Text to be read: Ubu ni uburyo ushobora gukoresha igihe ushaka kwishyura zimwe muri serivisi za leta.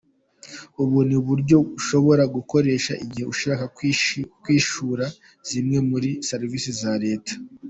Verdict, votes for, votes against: rejected, 0, 2